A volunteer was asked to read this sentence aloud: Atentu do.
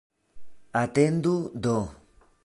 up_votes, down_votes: 1, 2